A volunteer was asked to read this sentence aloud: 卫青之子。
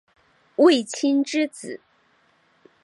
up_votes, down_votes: 6, 0